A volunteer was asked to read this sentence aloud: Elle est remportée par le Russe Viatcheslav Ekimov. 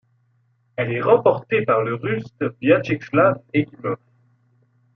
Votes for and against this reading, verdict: 1, 2, rejected